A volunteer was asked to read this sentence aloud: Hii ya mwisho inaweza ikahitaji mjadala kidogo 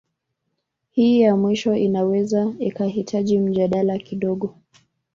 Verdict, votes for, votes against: rejected, 0, 2